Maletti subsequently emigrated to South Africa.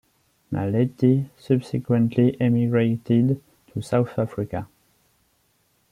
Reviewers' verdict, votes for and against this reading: rejected, 0, 2